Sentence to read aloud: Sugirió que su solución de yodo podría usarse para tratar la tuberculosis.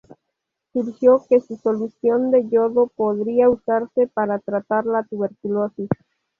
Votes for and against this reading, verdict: 0, 2, rejected